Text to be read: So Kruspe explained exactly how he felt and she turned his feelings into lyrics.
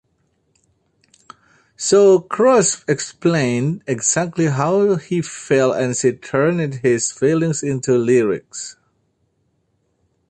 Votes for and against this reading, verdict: 2, 1, accepted